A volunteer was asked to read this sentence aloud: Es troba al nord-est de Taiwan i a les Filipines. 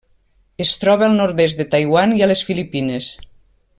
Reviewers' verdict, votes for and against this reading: accepted, 3, 0